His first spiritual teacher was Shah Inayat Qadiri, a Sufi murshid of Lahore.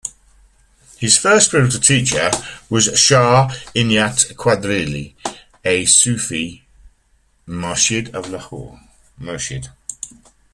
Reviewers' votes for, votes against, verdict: 0, 2, rejected